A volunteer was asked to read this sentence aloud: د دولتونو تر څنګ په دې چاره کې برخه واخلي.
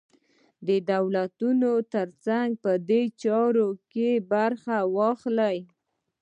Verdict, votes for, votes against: accepted, 2, 0